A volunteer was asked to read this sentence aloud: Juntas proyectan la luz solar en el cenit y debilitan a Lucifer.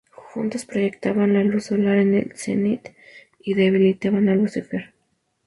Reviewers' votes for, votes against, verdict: 2, 0, accepted